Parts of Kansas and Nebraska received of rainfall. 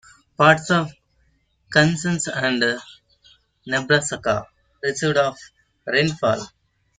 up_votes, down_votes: 0, 2